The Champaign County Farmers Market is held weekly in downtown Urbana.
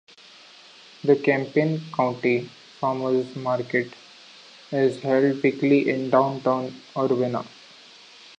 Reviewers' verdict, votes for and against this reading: rejected, 1, 2